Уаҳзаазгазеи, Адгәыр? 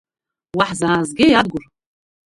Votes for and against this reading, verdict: 1, 2, rejected